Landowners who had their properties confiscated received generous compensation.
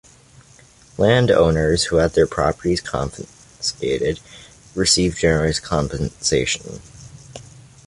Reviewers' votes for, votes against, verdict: 2, 0, accepted